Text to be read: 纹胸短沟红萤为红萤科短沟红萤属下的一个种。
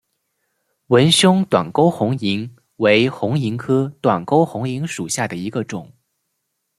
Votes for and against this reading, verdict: 2, 0, accepted